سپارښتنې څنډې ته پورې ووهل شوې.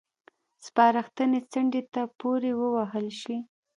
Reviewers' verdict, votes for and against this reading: rejected, 1, 2